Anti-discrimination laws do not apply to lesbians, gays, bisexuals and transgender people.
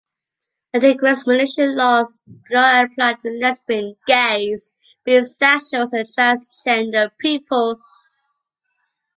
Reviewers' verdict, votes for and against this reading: rejected, 0, 2